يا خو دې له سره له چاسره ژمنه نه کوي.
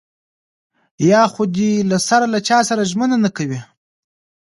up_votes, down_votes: 1, 2